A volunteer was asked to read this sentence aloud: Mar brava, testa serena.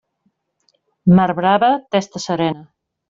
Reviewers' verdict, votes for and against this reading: accepted, 3, 1